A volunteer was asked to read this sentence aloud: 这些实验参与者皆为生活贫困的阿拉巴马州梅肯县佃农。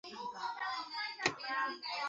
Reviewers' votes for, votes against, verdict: 0, 2, rejected